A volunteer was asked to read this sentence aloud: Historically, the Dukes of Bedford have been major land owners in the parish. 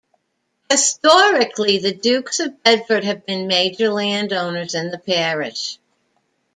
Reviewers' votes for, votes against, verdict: 2, 0, accepted